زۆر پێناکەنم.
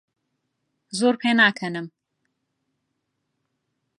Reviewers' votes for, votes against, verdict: 2, 0, accepted